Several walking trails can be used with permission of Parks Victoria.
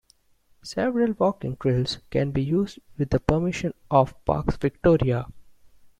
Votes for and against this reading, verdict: 1, 2, rejected